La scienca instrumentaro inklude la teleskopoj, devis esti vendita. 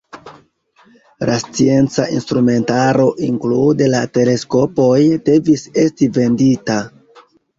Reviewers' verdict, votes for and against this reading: accepted, 2, 1